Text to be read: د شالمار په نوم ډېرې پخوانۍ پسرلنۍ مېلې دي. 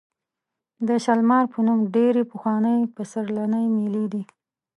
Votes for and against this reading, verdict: 2, 0, accepted